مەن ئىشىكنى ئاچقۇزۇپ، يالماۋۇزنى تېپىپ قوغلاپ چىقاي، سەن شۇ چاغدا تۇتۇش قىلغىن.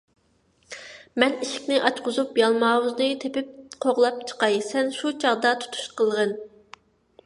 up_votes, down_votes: 2, 0